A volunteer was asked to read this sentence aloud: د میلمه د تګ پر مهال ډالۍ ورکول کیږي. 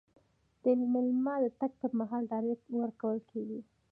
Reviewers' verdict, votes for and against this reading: accepted, 2, 0